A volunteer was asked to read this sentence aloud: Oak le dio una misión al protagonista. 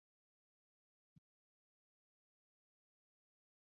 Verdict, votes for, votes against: rejected, 0, 2